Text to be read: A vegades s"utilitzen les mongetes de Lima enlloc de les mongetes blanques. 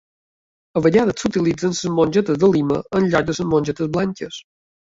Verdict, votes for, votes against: rejected, 1, 2